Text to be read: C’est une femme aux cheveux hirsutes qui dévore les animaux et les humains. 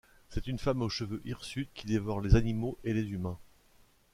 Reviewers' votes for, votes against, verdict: 2, 0, accepted